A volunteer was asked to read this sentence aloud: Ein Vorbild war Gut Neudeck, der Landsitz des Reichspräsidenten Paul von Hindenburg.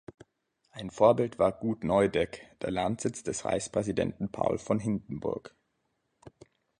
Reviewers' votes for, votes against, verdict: 3, 1, accepted